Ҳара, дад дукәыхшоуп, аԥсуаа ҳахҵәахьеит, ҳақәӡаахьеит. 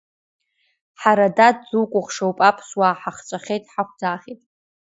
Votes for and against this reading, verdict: 2, 0, accepted